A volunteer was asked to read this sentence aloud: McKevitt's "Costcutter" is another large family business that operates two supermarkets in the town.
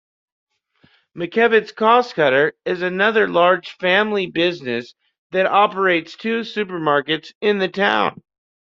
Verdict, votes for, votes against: accepted, 2, 0